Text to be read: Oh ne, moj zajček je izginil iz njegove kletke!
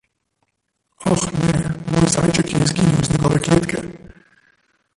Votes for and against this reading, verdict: 0, 2, rejected